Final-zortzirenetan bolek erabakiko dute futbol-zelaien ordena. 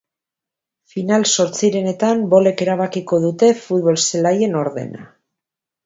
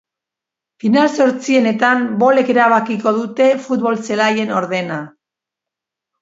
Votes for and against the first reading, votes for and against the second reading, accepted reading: 2, 0, 1, 2, first